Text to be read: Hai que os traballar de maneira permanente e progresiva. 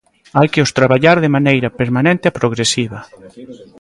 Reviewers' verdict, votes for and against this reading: rejected, 1, 2